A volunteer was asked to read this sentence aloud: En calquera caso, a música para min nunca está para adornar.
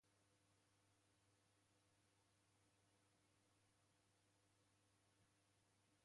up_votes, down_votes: 0, 2